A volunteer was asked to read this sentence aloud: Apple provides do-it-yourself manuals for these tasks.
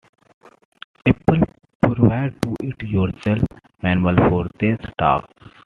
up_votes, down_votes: 0, 2